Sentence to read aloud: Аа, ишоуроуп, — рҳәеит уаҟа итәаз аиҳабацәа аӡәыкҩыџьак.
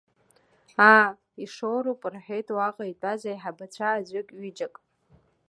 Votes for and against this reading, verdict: 1, 2, rejected